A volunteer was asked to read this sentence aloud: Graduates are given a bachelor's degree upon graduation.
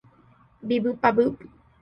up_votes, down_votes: 0, 2